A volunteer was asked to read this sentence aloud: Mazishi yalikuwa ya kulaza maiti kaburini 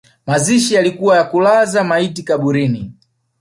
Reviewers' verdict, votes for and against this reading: accepted, 2, 0